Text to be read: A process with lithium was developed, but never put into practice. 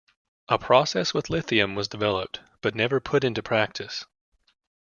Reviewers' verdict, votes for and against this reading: accepted, 2, 0